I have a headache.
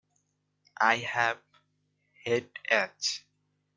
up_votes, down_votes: 0, 2